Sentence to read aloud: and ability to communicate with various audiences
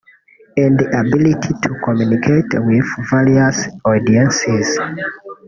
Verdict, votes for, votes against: rejected, 0, 2